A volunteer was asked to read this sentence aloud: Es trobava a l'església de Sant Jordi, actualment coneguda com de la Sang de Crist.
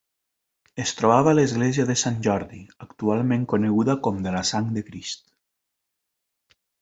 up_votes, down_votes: 3, 0